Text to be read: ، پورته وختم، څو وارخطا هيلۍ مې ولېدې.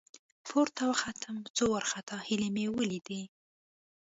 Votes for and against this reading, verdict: 2, 0, accepted